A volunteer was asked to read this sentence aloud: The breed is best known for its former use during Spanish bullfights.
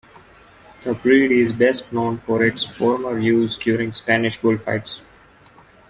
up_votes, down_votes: 2, 0